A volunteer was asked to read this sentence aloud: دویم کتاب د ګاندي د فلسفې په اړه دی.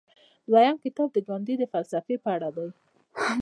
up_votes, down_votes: 2, 0